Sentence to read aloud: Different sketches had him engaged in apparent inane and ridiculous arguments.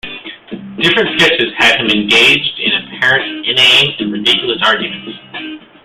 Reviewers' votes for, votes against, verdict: 2, 1, accepted